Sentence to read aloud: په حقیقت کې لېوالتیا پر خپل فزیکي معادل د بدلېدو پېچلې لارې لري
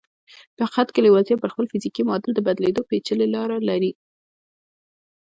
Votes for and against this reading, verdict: 2, 1, accepted